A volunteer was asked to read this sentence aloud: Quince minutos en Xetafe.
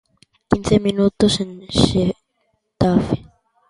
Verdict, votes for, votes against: rejected, 0, 2